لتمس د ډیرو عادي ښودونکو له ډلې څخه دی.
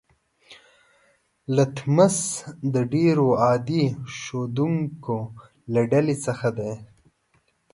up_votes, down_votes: 2, 0